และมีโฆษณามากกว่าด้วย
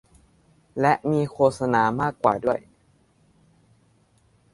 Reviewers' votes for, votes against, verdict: 2, 0, accepted